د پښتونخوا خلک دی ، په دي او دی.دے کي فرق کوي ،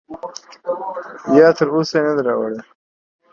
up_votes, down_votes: 0, 2